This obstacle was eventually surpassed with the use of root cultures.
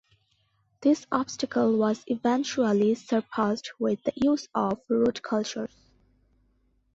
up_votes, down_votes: 2, 0